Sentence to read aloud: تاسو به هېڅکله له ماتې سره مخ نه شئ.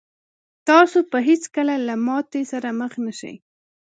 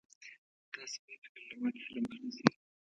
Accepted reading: first